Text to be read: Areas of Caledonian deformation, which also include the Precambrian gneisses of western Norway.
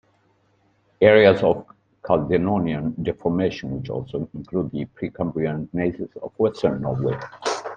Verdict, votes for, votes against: rejected, 0, 2